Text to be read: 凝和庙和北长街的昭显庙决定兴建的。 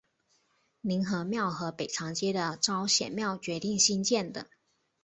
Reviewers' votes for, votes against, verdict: 2, 0, accepted